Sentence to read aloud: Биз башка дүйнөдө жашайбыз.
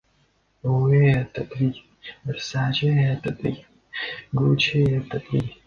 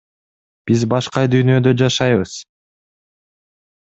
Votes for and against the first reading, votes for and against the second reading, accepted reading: 0, 2, 2, 0, second